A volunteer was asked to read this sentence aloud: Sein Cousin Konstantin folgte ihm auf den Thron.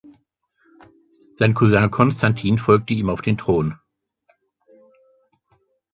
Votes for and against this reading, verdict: 2, 0, accepted